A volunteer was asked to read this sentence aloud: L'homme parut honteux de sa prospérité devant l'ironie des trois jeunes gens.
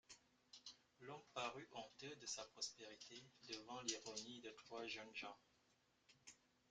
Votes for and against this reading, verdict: 1, 2, rejected